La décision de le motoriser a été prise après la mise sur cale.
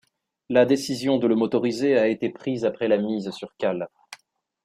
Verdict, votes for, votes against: accepted, 2, 0